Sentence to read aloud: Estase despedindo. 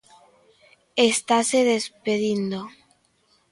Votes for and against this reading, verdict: 2, 0, accepted